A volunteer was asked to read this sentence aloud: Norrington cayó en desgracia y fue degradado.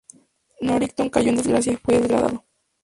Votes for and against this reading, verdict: 0, 2, rejected